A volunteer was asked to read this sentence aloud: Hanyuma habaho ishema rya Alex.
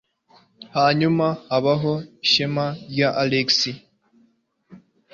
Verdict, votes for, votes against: accepted, 2, 0